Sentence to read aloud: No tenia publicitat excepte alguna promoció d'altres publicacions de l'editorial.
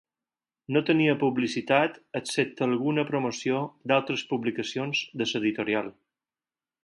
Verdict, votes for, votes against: accepted, 4, 2